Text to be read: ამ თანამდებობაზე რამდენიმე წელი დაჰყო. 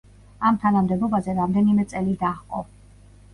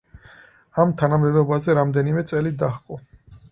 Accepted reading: first